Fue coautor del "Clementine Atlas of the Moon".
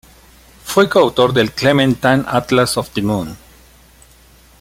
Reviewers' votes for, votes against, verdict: 1, 2, rejected